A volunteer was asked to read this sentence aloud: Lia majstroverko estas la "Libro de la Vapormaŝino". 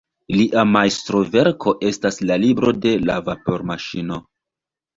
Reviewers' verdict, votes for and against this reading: rejected, 1, 2